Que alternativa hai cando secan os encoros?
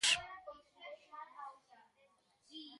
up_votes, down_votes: 0, 2